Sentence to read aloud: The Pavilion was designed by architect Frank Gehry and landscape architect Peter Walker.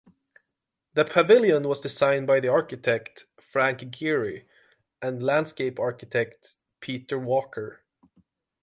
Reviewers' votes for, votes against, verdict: 3, 3, rejected